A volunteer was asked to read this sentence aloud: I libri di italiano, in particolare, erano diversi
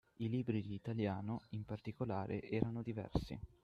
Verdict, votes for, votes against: rejected, 0, 6